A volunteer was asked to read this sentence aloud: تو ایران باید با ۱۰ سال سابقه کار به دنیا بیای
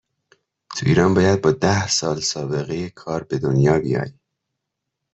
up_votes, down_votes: 0, 2